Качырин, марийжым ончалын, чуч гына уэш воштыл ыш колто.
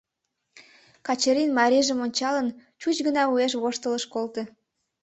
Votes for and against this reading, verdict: 2, 0, accepted